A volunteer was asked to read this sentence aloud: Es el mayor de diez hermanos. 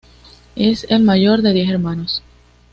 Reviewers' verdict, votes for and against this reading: accepted, 2, 0